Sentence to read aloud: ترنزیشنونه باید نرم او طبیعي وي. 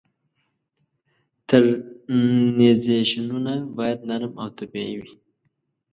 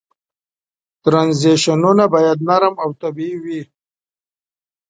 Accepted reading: second